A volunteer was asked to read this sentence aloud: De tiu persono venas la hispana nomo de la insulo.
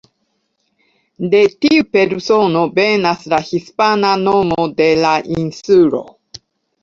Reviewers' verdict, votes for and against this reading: accepted, 2, 0